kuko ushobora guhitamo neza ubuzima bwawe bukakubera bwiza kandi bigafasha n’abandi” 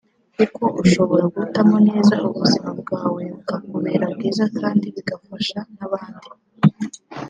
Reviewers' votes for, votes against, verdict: 0, 2, rejected